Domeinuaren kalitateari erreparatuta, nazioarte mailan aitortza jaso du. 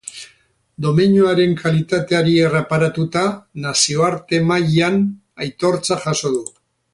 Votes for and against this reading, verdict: 2, 0, accepted